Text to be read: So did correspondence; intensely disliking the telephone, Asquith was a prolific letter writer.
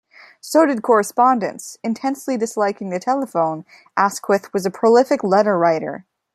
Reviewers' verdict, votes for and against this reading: accepted, 3, 0